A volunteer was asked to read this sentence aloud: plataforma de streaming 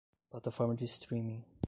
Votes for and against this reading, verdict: 0, 5, rejected